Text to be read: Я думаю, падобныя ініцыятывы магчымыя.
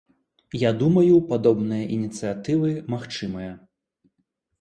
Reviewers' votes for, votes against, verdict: 2, 0, accepted